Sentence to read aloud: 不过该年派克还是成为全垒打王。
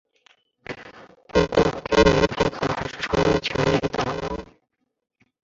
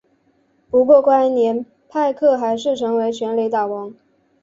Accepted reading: second